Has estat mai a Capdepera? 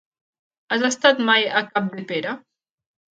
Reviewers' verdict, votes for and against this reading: accepted, 3, 0